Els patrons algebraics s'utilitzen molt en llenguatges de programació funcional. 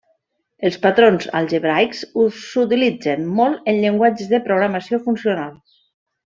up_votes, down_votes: 0, 2